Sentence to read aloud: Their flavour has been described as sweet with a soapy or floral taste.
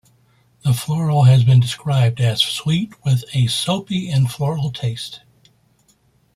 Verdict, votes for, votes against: rejected, 1, 2